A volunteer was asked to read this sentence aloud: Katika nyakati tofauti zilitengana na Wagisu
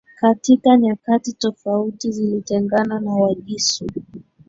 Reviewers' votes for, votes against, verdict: 1, 2, rejected